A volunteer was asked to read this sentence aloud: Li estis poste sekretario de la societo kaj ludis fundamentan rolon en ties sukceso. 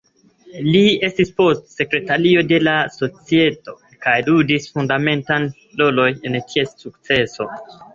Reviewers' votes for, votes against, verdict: 2, 0, accepted